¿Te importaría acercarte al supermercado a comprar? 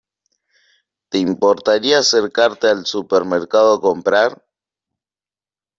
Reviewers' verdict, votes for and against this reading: accepted, 2, 0